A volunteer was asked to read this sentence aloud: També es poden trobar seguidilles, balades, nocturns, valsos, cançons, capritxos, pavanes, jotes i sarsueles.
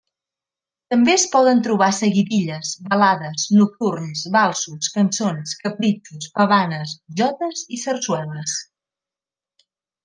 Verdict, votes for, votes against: accepted, 3, 0